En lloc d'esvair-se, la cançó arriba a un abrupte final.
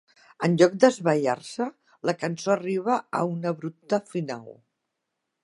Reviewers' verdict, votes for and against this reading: rejected, 0, 2